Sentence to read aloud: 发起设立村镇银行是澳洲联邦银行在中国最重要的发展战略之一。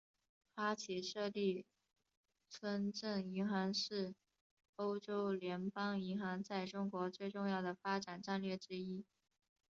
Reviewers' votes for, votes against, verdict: 0, 2, rejected